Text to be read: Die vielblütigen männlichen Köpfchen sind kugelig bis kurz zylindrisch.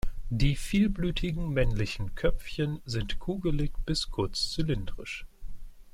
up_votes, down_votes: 2, 0